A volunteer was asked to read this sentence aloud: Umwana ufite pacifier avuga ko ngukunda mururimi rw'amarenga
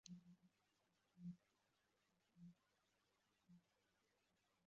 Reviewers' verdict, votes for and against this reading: rejected, 0, 2